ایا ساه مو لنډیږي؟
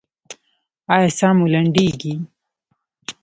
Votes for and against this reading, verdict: 0, 2, rejected